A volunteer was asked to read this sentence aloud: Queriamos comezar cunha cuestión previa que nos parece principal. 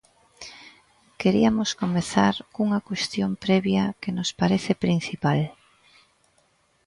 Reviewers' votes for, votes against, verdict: 0, 2, rejected